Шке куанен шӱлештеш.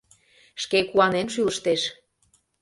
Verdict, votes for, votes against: rejected, 0, 2